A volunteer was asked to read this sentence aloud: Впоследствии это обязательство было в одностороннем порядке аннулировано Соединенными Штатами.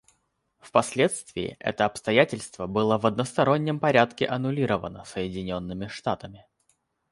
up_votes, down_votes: 1, 2